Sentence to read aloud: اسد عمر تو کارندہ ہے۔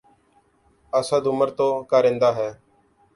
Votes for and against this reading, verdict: 2, 0, accepted